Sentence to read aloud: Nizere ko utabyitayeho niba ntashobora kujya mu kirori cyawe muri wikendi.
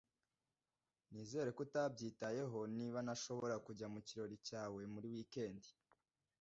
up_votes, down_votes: 0, 2